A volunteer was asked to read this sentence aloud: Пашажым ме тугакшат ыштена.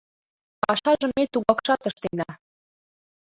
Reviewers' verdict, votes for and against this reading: accepted, 2, 1